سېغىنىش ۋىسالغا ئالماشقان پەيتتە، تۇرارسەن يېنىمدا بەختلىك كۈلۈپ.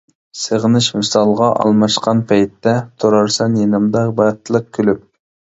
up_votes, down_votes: 0, 2